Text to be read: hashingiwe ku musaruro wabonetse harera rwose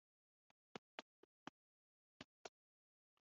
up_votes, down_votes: 0, 2